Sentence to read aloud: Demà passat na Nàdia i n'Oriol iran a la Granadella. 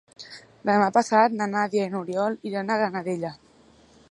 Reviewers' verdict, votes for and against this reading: rejected, 1, 2